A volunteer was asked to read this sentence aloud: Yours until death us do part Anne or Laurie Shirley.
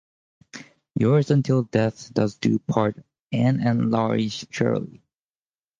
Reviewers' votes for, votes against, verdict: 0, 4, rejected